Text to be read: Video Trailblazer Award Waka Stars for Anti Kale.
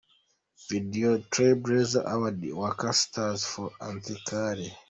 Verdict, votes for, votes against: rejected, 1, 2